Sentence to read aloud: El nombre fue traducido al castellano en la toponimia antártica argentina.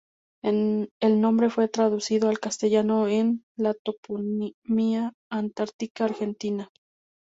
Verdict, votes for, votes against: rejected, 0, 2